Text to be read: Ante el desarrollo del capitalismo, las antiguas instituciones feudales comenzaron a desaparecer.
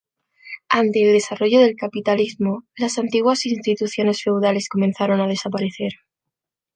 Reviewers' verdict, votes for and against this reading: accepted, 2, 0